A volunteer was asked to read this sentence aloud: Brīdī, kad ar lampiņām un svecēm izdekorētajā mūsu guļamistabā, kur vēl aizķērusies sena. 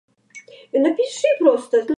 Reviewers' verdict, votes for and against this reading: rejected, 0, 2